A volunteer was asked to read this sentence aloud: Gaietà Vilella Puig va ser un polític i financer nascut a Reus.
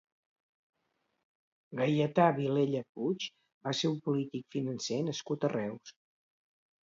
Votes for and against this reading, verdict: 0, 2, rejected